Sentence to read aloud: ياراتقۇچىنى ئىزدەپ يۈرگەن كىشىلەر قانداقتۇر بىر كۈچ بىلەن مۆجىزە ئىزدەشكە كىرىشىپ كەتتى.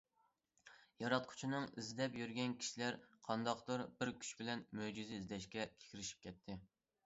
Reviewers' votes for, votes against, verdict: 0, 2, rejected